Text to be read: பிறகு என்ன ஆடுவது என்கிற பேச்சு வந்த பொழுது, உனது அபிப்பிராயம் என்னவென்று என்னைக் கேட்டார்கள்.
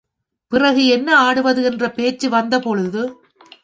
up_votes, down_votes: 2, 3